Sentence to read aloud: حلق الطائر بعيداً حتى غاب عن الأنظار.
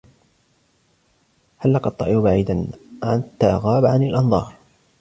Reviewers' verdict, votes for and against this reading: accepted, 2, 0